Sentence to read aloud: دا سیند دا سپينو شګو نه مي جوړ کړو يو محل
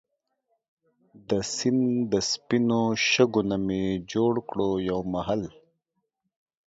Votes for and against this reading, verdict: 1, 2, rejected